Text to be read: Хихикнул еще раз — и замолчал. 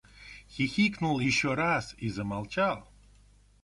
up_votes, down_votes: 1, 2